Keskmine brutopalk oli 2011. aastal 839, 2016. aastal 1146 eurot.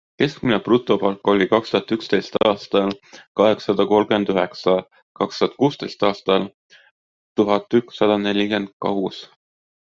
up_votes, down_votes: 0, 2